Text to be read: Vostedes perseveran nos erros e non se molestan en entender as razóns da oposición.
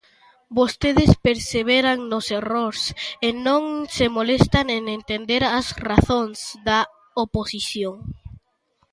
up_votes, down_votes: 0, 2